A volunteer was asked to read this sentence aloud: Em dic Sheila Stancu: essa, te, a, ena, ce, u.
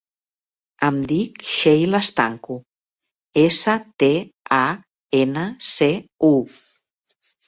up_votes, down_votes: 5, 0